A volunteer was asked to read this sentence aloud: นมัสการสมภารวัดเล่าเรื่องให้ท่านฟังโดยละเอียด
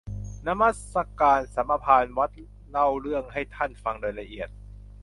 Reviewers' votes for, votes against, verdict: 0, 2, rejected